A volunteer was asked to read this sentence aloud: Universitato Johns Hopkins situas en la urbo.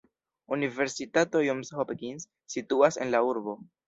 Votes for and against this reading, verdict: 2, 0, accepted